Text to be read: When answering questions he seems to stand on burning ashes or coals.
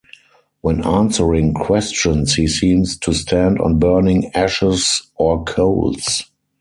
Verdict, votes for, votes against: accepted, 6, 0